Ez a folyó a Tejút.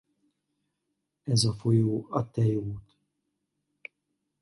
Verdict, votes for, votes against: rejected, 0, 2